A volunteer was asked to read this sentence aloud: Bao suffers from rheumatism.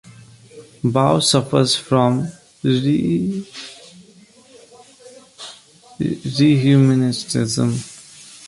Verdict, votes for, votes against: rejected, 0, 3